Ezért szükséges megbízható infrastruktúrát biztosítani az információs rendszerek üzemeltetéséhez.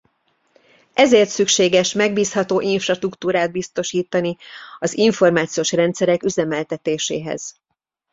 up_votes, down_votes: 2, 1